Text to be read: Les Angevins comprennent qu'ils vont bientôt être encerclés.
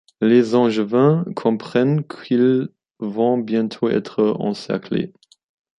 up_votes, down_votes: 2, 1